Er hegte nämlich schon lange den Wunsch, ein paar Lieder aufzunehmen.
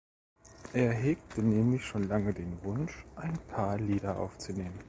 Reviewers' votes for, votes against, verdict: 1, 2, rejected